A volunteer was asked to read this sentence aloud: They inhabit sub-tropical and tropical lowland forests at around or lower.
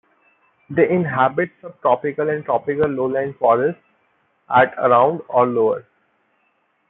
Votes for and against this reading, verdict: 2, 0, accepted